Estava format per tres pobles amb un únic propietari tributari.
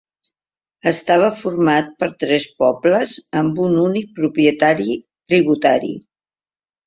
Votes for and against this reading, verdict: 2, 0, accepted